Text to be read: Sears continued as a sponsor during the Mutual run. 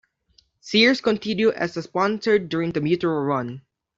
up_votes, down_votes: 1, 2